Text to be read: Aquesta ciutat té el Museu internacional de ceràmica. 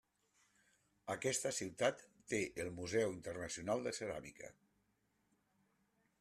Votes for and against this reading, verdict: 3, 0, accepted